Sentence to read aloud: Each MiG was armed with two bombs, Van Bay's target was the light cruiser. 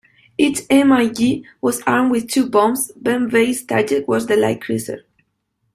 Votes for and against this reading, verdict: 1, 2, rejected